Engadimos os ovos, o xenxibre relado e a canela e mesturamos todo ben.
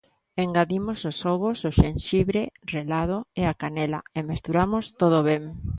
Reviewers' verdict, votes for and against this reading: accepted, 2, 0